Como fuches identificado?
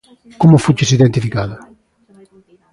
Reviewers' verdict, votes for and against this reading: accepted, 2, 0